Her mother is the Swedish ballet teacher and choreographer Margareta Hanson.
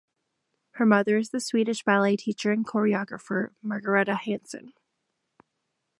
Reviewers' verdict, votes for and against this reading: accepted, 2, 0